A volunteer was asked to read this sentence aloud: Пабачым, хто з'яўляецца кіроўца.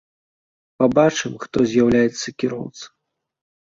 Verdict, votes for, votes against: accepted, 2, 0